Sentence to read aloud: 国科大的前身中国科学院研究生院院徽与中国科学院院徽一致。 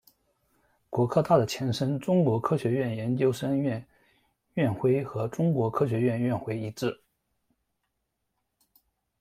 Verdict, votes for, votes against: rejected, 1, 2